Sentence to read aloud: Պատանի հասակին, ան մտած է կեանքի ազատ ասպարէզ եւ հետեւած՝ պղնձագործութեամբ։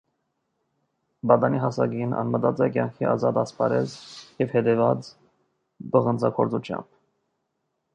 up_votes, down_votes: 2, 0